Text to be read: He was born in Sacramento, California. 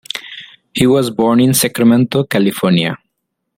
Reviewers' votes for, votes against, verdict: 2, 0, accepted